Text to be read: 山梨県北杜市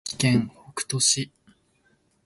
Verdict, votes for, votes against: rejected, 1, 2